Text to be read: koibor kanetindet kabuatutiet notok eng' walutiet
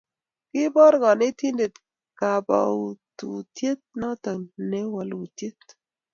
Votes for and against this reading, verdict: 0, 2, rejected